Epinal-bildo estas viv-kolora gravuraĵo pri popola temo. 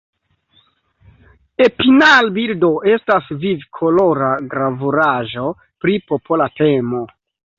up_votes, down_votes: 2, 0